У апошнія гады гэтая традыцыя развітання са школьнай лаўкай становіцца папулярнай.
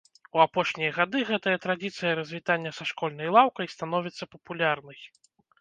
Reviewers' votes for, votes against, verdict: 0, 2, rejected